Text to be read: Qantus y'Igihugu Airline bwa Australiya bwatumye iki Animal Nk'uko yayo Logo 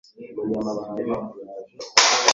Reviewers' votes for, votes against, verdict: 1, 2, rejected